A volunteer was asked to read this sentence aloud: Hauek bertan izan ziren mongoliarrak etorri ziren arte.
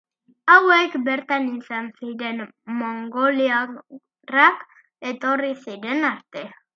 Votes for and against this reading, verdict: 2, 1, accepted